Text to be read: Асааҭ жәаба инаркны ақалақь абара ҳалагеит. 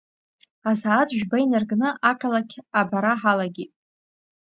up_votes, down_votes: 1, 2